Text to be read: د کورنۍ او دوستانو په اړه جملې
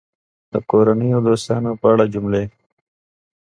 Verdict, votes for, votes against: accepted, 2, 0